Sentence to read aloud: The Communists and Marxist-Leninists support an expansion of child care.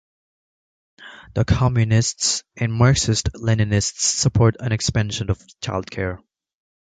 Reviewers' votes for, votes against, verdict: 2, 0, accepted